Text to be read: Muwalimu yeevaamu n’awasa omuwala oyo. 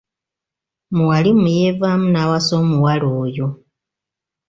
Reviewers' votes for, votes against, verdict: 2, 0, accepted